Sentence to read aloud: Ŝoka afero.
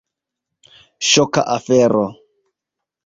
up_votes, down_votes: 2, 0